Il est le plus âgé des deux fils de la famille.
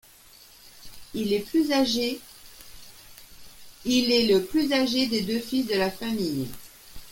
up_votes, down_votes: 0, 2